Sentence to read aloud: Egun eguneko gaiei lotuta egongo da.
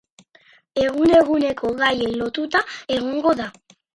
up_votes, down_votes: 4, 0